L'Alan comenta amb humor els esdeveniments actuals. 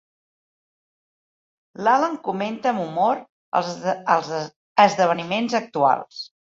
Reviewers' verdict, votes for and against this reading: rejected, 0, 2